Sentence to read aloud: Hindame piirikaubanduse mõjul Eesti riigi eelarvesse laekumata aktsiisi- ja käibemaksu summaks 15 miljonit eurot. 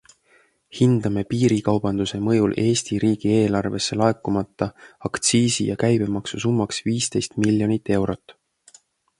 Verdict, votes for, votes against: rejected, 0, 2